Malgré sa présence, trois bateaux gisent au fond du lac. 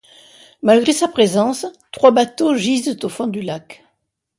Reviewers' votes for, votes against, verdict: 2, 0, accepted